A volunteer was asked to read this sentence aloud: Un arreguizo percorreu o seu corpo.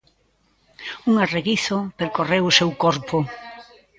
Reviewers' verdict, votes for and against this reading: rejected, 1, 2